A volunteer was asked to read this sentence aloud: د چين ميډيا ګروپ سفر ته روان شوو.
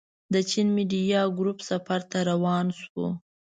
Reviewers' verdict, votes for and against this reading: accepted, 2, 0